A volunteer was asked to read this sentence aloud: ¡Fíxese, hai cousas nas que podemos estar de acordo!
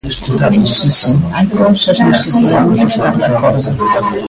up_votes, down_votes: 0, 2